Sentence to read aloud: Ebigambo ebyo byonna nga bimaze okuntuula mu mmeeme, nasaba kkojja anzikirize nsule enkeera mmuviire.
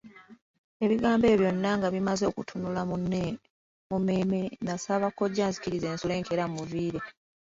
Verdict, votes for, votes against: rejected, 0, 3